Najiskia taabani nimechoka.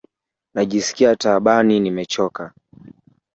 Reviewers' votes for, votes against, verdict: 1, 2, rejected